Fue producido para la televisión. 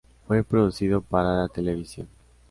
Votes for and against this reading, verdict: 2, 0, accepted